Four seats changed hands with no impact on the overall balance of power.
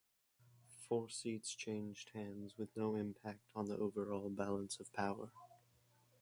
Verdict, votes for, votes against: rejected, 2, 4